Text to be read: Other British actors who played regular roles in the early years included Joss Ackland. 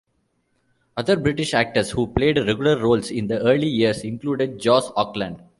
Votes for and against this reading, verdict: 0, 2, rejected